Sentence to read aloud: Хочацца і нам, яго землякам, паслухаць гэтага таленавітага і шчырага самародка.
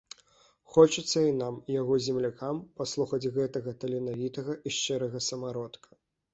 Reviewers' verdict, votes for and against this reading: accepted, 2, 0